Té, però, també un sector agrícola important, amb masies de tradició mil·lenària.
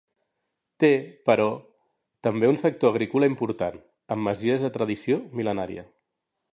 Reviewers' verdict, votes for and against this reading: accepted, 2, 0